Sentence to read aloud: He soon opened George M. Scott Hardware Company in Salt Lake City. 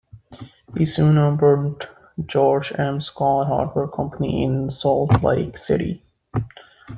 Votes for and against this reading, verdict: 2, 1, accepted